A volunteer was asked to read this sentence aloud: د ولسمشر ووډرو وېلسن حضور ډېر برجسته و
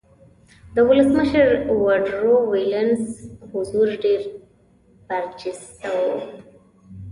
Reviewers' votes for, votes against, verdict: 2, 1, accepted